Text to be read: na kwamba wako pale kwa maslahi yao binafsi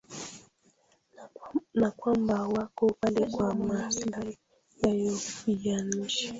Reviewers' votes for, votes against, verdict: 0, 2, rejected